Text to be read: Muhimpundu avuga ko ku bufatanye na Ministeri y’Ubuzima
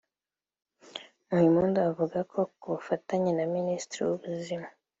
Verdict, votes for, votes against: accepted, 2, 1